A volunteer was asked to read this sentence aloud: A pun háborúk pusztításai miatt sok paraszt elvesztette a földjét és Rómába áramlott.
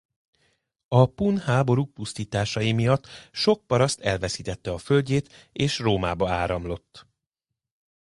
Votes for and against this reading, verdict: 0, 2, rejected